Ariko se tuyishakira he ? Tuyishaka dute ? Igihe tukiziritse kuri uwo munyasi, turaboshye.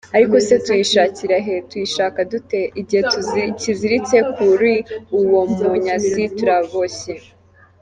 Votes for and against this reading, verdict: 1, 2, rejected